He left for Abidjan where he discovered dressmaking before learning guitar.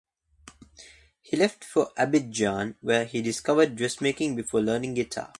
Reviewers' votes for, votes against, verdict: 2, 0, accepted